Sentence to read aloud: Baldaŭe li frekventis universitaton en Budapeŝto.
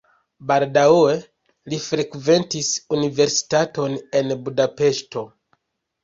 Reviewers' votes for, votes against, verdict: 0, 2, rejected